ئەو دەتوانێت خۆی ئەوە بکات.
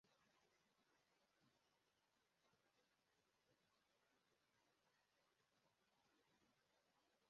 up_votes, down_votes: 0, 2